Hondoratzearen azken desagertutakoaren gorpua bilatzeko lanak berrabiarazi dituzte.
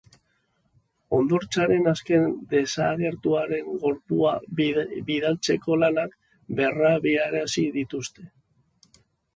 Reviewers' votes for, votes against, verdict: 0, 2, rejected